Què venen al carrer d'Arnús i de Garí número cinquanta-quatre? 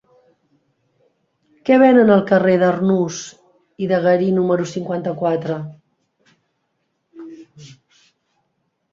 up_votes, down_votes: 3, 0